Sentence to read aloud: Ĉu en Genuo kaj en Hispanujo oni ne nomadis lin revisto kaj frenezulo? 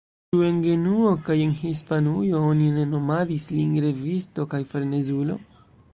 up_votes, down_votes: 1, 2